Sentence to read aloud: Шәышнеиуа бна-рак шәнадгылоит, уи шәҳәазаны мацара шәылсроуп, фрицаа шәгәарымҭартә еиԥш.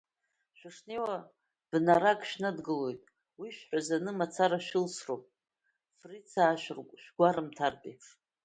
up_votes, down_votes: 2, 1